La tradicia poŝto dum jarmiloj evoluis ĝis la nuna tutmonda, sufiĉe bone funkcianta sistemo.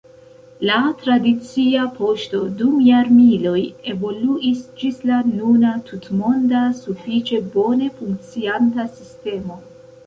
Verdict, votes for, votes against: accepted, 2, 0